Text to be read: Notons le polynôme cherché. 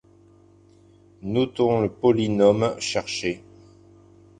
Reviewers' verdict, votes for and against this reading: accepted, 2, 0